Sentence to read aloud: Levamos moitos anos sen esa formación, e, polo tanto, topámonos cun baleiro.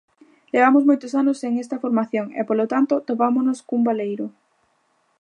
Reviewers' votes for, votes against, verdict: 0, 2, rejected